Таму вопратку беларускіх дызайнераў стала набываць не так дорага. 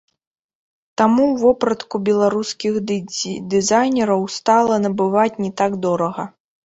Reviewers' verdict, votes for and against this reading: rejected, 0, 3